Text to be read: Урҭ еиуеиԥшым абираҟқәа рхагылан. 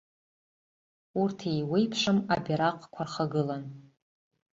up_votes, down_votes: 2, 0